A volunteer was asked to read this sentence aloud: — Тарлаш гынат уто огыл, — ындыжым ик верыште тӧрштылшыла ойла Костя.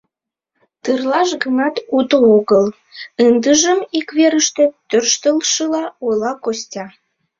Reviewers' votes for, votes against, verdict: 0, 2, rejected